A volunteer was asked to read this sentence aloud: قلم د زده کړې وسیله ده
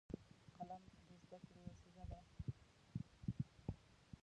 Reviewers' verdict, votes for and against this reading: rejected, 0, 2